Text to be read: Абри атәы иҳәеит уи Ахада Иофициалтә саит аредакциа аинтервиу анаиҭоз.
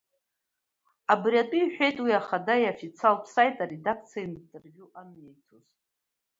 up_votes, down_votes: 0, 2